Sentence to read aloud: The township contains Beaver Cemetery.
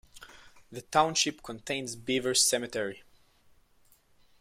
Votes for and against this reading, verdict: 2, 0, accepted